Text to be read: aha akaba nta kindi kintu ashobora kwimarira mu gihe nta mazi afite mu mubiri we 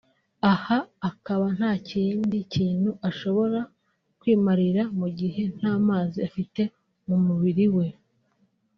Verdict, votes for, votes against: rejected, 1, 2